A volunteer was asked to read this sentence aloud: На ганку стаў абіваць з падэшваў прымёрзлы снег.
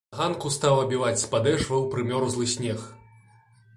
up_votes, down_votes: 0, 2